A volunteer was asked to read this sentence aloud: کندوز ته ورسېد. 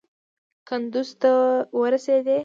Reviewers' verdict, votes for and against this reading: rejected, 1, 2